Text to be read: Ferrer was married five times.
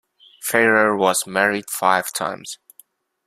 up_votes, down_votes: 2, 0